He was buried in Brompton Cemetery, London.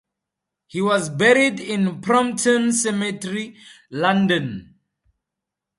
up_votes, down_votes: 4, 0